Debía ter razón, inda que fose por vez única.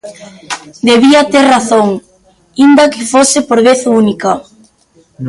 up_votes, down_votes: 1, 2